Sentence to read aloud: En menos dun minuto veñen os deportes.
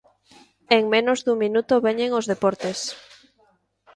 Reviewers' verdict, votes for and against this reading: accepted, 2, 0